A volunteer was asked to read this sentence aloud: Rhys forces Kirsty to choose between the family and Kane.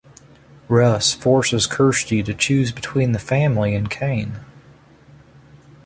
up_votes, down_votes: 3, 0